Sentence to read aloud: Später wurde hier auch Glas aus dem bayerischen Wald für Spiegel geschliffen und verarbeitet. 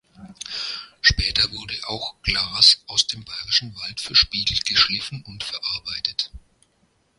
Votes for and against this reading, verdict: 0, 2, rejected